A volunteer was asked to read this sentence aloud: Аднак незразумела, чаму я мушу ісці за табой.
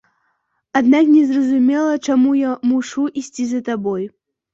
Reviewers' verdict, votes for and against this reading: accepted, 2, 0